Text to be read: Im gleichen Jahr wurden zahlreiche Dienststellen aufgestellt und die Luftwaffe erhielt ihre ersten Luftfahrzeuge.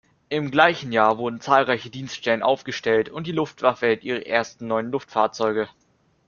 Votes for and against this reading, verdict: 0, 2, rejected